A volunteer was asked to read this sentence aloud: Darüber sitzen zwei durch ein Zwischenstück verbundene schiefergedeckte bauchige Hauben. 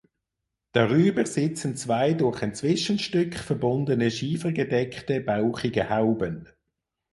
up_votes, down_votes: 6, 0